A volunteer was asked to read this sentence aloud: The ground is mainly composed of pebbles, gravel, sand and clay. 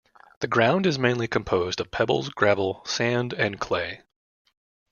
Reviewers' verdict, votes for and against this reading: accepted, 2, 0